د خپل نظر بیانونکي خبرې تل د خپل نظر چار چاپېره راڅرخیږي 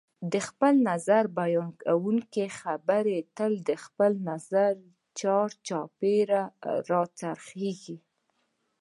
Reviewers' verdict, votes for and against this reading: accepted, 2, 0